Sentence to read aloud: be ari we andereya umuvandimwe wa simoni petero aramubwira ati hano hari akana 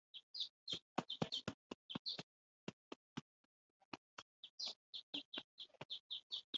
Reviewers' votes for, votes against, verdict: 0, 2, rejected